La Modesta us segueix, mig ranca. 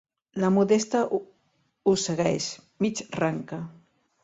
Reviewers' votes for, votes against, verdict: 0, 2, rejected